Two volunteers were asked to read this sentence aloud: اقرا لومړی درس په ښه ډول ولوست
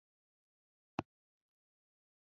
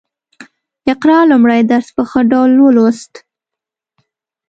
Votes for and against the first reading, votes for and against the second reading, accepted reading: 0, 2, 2, 0, second